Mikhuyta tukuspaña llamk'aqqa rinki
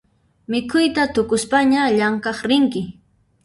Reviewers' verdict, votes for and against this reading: rejected, 0, 2